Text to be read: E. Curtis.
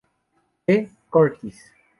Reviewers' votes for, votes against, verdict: 2, 0, accepted